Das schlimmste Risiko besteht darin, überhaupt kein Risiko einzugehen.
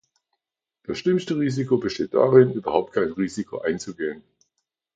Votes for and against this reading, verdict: 2, 0, accepted